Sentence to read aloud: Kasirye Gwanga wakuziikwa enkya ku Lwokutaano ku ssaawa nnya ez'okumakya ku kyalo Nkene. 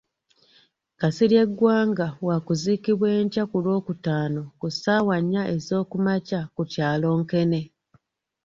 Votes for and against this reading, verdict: 1, 2, rejected